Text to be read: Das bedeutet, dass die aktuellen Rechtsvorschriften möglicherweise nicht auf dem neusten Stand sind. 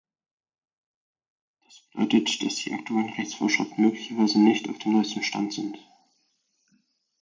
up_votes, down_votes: 2, 4